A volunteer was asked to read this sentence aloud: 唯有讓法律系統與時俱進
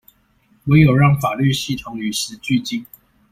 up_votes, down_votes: 2, 0